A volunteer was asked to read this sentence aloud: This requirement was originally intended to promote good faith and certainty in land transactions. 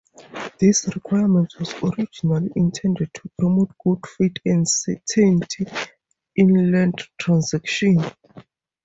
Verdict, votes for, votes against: rejected, 0, 4